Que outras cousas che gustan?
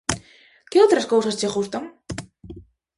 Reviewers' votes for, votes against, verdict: 2, 0, accepted